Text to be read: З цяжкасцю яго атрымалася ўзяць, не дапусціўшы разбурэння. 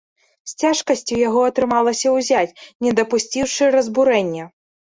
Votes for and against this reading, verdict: 2, 0, accepted